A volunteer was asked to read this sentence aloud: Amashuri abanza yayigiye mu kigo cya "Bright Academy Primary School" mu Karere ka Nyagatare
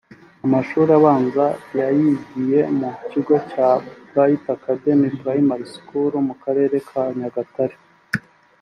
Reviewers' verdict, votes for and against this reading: accepted, 2, 0